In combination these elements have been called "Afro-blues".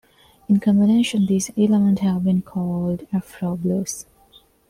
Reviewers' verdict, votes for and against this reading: rejected, 0, 2